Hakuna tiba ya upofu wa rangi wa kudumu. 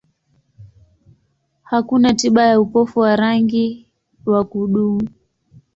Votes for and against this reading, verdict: 2, 0, accepted